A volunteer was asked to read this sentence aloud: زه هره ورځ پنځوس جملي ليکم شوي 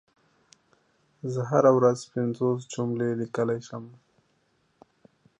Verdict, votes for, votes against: rejected, 1, 2